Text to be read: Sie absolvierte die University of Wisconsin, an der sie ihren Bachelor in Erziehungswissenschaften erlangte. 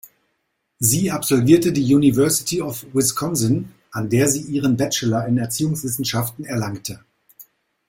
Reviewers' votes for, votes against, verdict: 2, 0, accepted